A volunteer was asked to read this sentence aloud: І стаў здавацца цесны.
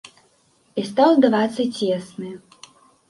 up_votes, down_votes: 2, 0